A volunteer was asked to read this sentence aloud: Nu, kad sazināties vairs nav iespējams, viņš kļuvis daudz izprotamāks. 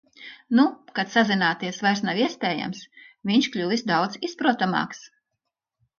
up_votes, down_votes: 2, 0